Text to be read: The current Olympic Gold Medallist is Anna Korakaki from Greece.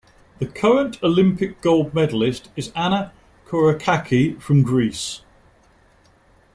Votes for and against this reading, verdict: 2, 0, accepted